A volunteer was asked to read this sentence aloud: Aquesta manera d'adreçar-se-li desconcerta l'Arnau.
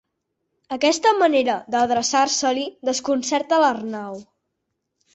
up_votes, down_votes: 4, 0